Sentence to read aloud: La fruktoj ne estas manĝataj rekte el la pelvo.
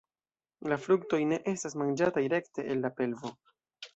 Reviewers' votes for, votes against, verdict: 2, 0, accepted